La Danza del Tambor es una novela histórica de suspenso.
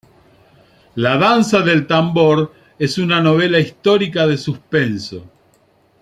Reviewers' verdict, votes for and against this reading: accepted, 2, 0